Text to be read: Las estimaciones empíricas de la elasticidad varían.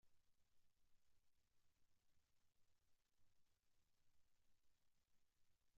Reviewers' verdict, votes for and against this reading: rejected, 0, 2